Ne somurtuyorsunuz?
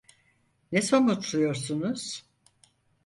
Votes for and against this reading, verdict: 2, 4, rejected